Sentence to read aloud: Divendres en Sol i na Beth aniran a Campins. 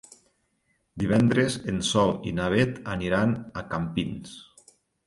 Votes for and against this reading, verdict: 2, 0, accepted